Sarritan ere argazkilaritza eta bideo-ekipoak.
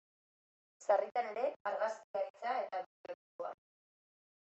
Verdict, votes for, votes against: rejected, 0, 2